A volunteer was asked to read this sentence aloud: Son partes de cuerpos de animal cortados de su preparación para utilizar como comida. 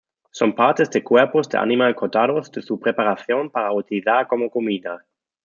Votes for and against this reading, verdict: 2, 0, accepted